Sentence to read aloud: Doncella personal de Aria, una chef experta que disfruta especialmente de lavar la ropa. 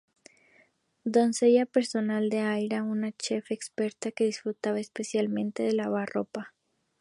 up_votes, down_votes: 2, 0